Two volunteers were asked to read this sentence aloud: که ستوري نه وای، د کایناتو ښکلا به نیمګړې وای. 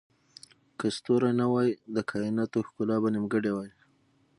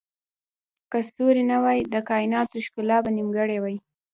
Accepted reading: second